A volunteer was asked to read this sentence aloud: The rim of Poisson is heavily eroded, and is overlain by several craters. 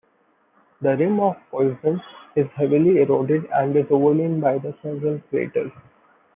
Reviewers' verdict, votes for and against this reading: rejected, 0, 2